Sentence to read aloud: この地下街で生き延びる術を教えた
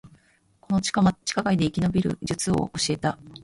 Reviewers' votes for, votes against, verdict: 1, 2, rejected